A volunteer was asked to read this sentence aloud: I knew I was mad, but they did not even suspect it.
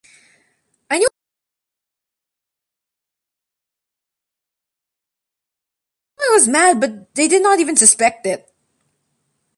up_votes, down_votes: 1, 2